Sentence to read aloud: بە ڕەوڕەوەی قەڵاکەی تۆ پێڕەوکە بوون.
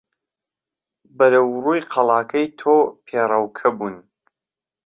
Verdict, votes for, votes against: rejected, 0, 2